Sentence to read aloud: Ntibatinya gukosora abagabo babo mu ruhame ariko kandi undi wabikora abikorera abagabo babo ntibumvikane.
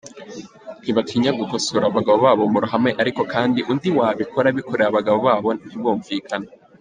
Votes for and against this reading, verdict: 1, 2, rejected